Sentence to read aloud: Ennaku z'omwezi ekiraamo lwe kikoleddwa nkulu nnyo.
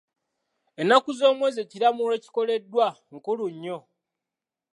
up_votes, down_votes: 2, 0